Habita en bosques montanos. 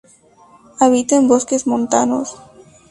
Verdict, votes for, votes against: accepted, 2, 0